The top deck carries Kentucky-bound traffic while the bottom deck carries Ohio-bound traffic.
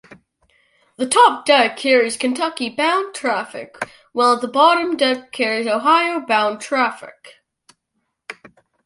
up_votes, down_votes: 2, 0